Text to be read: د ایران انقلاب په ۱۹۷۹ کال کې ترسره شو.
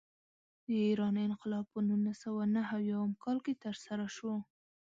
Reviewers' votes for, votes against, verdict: 0, 2, rejected